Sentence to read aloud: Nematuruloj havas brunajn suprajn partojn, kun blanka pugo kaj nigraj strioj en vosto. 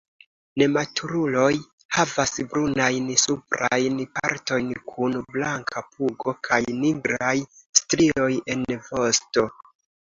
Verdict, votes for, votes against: accepted, 2, 0